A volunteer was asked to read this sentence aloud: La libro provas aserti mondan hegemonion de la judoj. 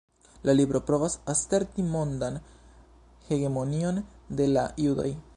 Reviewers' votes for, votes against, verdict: 3, 0, accepted